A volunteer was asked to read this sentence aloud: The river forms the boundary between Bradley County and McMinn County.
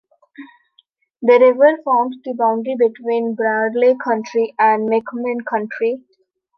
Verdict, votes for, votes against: rejected, 0, 2